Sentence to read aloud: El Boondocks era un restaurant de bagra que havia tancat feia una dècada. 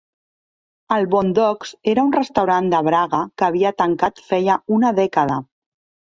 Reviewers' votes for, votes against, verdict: 0, 2, rejected